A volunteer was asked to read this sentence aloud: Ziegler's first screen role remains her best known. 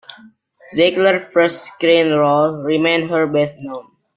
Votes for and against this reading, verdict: 2, 0, accepted